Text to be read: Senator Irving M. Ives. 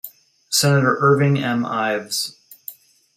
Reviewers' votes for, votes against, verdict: 2, 0, accepted